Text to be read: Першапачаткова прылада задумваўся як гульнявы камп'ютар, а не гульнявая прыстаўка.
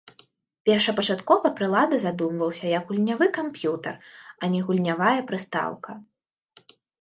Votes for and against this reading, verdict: 2, 0, accepted